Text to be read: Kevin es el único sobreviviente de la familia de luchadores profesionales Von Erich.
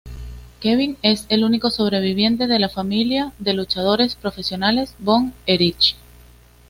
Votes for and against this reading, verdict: 2, 0, accepted